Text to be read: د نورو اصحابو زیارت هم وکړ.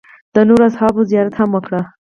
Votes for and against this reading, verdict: 2, 2, rejected